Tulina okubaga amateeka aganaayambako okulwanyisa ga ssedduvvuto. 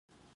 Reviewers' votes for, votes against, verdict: 0, 2, rejected